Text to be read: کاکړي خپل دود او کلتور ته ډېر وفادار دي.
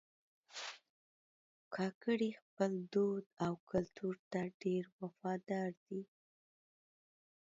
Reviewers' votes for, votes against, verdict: 1, 2, rejected